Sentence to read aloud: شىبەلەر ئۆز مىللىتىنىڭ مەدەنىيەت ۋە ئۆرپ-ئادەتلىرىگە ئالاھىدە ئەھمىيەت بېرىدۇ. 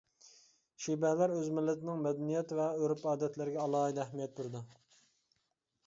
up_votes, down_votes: 2, 1